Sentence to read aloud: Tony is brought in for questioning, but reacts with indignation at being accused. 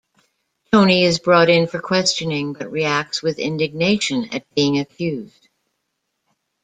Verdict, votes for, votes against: accepted, 2, 0